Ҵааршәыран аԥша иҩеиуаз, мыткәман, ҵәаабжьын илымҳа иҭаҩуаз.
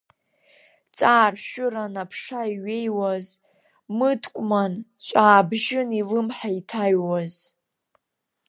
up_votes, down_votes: 2, 1